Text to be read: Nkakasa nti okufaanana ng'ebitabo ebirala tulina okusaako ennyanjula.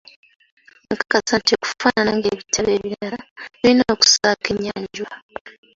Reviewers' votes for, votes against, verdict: 1, 2, rejected